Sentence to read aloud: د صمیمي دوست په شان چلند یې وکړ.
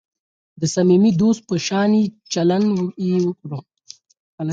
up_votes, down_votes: 4, 0